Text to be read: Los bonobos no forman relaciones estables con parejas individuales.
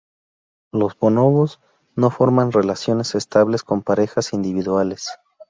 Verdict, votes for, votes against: rejected, 0, 2